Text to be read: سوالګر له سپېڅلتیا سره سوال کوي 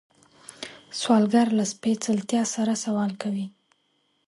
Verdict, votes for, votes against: accepted, 2, 0